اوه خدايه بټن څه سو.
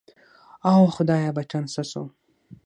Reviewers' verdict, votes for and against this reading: rejected, 3, 6